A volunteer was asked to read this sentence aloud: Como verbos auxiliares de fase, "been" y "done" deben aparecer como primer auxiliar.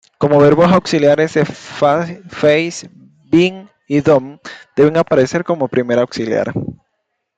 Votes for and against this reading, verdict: 0, 2, rejected